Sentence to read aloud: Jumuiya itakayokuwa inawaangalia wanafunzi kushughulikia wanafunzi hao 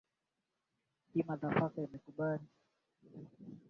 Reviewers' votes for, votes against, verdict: 0, 5, rejected